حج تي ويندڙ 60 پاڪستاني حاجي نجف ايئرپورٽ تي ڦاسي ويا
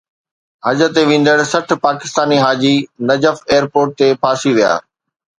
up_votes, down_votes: 0, 2